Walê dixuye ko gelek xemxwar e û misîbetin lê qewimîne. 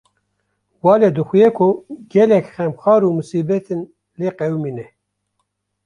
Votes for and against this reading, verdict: 1, 2, rejected